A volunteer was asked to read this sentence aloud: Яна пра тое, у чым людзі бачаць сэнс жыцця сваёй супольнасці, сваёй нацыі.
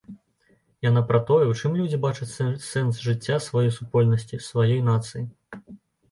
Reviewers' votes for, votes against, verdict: 1, 2, rejected